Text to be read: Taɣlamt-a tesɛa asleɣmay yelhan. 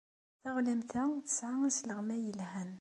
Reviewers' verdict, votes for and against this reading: accepted, 2, 0